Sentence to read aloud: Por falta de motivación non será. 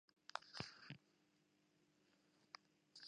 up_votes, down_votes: 0, 2